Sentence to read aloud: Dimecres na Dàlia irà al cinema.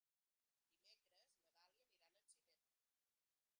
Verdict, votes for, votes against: rejected, 0, 2